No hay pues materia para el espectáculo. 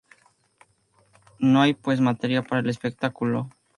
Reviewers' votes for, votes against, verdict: 2, 0, accepted